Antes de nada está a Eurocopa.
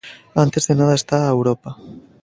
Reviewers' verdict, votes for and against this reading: rejected, 0, 2